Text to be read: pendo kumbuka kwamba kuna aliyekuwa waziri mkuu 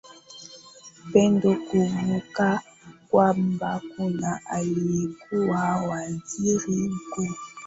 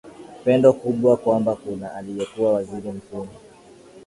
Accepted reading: first